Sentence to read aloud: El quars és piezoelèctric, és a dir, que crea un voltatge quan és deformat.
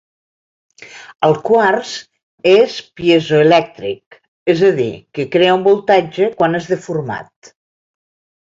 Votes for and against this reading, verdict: 2, 0, accepted